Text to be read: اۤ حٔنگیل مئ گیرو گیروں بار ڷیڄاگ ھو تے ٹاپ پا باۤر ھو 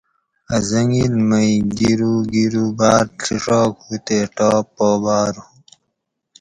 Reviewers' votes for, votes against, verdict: 2, 2, rejected